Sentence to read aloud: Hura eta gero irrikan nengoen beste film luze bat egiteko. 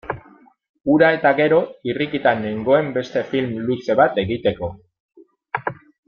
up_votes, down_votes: 0, 2